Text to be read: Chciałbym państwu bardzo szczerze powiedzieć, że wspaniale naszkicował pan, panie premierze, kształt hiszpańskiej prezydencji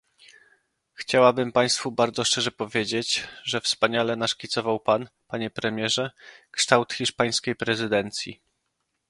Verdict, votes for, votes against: rejected, 0, 2